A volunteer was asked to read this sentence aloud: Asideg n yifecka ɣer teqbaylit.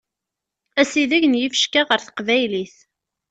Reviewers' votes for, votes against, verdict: 2, 0, accepted